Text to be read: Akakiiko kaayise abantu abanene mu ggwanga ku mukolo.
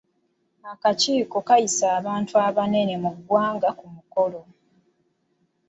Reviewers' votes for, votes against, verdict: 2, 1, accepted